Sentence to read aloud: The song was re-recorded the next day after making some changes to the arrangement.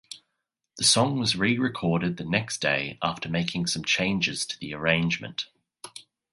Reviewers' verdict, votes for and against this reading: accepted, 2, 0